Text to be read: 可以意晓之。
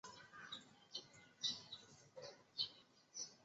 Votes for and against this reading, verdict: 1, 4, rejected